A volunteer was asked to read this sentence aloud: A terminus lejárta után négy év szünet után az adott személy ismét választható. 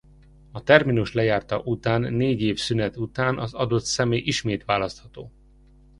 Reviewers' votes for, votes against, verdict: 2, 0, accepted